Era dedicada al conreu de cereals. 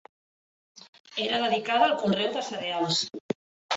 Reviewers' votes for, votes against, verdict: 2, 0, accepted